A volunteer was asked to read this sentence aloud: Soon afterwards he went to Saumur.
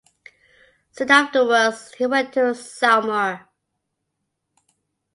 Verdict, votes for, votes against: accepted, 2, 0